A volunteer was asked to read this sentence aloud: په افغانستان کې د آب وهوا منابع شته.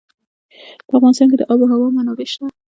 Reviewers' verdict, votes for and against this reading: rejected, 1, 2